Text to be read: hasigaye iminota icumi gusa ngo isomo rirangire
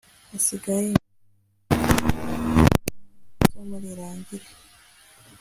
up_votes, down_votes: 1, 2